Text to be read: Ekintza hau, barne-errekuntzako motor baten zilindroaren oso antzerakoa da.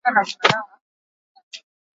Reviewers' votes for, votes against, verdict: 0, 4, rejected